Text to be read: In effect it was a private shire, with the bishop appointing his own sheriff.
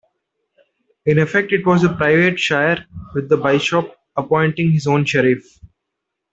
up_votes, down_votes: 1, 2